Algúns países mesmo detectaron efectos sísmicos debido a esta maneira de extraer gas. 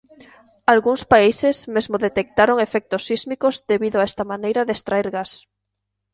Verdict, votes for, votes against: accepted, 2, 0